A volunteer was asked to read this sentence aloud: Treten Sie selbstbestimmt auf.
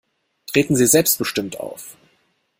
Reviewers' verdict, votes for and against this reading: accepted, 2, 0